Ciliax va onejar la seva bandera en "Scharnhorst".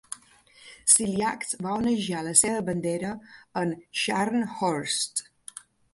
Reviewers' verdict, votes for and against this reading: accepted, 2, 0